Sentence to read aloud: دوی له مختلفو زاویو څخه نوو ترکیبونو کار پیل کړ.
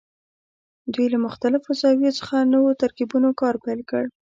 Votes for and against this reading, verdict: 2, 0, accepted